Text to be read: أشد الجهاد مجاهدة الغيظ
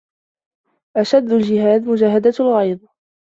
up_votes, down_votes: 2, 0